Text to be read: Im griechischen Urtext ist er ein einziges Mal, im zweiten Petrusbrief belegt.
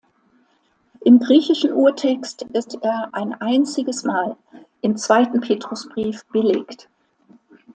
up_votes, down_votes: 2, 0